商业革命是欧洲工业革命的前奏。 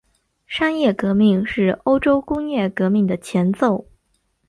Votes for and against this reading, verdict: 3, 0, accepted